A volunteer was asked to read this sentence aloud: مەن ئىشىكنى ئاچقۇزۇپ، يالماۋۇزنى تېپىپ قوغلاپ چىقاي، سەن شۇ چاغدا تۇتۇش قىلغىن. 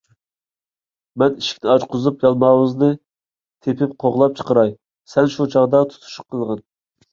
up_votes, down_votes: 0, 2